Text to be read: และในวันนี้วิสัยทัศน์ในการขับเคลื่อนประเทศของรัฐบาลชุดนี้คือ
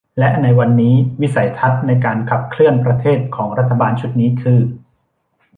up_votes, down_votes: 2, 0